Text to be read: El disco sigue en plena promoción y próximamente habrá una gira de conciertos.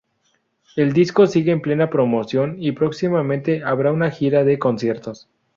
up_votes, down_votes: 2, 0